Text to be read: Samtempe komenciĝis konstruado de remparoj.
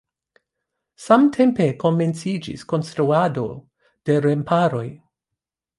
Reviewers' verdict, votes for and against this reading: accepted, 2, 0